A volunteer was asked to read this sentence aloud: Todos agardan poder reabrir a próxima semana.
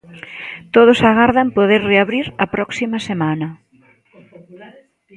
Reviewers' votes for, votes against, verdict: 1, 2, rejected